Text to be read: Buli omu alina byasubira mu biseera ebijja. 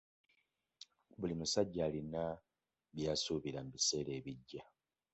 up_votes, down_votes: 1, 2